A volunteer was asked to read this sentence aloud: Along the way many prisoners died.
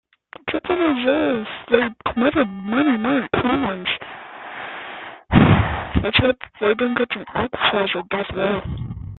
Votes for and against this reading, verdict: 0, 2, rejected